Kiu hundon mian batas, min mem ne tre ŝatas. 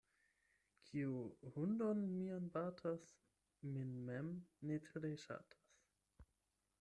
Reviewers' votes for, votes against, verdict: 8, 0, accepted